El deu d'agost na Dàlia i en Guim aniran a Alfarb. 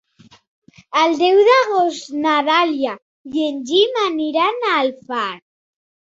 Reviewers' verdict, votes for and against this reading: rejected, 0, 2